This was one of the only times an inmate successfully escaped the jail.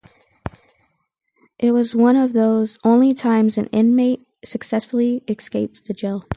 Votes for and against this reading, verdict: 0, 2, rejected